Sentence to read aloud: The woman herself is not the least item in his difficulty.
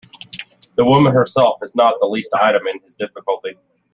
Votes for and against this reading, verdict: 2, 0, accepted